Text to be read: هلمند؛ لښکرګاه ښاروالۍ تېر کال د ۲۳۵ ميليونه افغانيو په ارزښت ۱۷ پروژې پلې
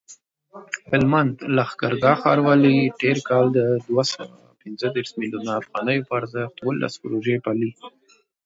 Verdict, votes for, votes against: rejected, 0, 2